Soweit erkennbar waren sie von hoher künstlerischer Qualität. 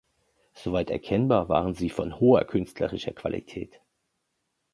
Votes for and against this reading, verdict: 2, 0, accepted